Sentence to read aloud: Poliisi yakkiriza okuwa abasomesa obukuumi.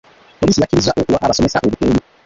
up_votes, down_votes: 0, 2